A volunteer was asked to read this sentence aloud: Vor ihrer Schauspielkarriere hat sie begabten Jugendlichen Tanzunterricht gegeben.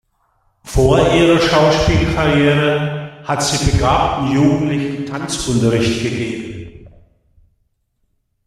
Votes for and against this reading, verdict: 2, 0, accepted